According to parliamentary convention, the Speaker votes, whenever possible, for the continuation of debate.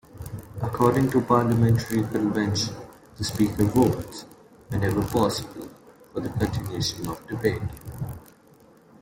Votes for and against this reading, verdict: 2, 0, accepted